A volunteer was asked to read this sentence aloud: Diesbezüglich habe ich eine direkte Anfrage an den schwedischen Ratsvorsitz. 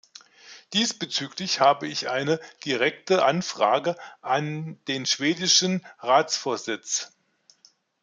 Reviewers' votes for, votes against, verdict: 2, 0, accepted